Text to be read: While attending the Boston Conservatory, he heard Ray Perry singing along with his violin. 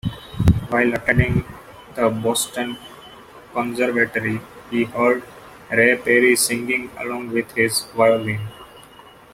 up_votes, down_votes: 2, 0